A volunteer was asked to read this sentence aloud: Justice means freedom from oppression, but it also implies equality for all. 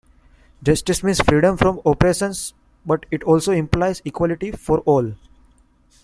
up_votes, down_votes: 0, 2